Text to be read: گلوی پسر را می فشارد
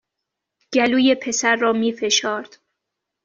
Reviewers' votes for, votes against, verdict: 1, 2, rejected